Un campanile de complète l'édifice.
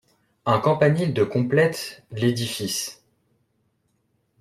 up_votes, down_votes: 2, 0